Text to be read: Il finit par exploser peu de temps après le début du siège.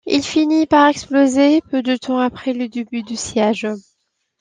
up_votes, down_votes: 2, 0